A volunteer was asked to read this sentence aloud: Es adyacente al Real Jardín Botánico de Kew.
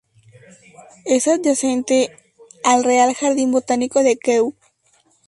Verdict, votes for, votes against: accepted, 2, 0